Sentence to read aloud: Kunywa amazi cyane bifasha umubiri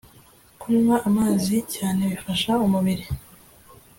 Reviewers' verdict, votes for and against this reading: accepted, 2, 0